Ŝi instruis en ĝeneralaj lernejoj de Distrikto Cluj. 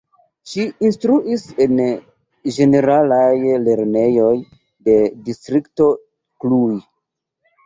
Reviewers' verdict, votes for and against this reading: rejected, 1, 2